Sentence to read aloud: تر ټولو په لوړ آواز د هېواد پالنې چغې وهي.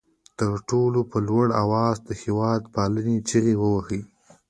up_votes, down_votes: 1, 2